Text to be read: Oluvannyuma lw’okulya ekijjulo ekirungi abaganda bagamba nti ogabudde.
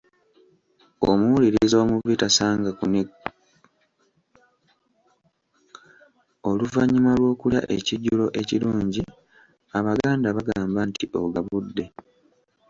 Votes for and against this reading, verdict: 1, 2, rejected